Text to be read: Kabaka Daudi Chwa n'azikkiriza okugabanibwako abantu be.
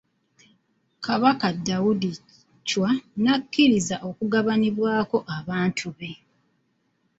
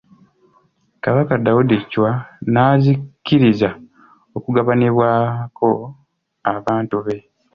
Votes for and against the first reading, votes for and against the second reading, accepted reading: 1, 2, 2, 0, second